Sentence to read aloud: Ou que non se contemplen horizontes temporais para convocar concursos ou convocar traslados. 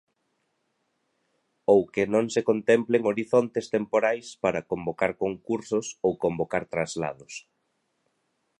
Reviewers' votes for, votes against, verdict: 2, 0, accepted